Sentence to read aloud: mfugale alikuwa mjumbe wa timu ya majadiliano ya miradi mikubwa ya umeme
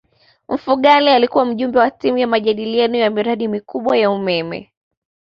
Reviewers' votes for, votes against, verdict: 2, 0, accepted